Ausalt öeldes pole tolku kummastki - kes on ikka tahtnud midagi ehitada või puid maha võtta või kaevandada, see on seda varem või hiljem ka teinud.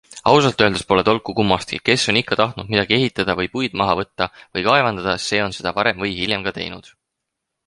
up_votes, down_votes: 4, 0